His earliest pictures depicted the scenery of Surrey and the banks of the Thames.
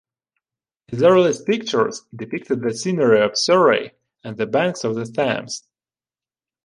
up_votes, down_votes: 2, 1